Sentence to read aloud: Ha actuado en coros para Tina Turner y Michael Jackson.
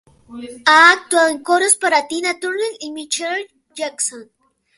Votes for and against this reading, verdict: 2, 4, rejected